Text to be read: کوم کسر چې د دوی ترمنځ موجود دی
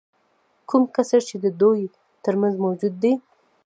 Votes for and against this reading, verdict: 0, 2, rejected